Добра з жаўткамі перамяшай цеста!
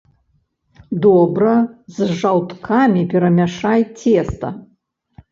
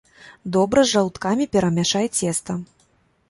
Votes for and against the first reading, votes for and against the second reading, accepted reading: 1, 2, 2, 0, second